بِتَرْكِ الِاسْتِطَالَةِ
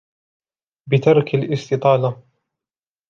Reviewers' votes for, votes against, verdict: 2, 1, accepted